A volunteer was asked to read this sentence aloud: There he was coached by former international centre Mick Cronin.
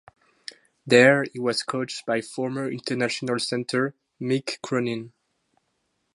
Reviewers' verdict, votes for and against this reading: accepted, 2, 0